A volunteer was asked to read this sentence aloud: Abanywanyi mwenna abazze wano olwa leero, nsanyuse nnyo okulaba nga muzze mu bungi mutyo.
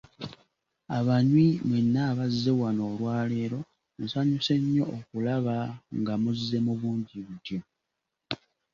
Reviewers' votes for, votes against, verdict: 0, 2, rejected